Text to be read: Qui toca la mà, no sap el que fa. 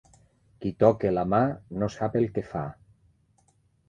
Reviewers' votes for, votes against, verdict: 2, 0, accepted